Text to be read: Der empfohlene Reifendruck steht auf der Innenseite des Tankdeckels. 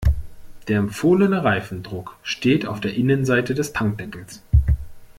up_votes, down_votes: 2, 0